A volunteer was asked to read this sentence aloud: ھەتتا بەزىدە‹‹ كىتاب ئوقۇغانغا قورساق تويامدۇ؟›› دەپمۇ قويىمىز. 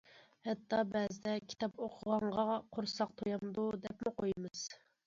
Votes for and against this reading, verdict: 2, 0, accepted